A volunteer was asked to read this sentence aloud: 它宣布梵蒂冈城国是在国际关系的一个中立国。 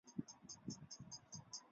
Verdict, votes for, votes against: rejected, 0, 5